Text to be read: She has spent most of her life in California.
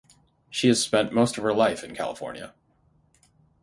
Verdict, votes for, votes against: rejected, 0, 3